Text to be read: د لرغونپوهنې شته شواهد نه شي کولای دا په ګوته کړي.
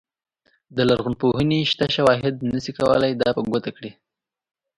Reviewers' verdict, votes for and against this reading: accepted, 2, 0